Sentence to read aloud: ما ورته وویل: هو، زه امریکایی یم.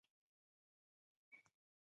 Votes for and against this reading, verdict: 2, 4, rejected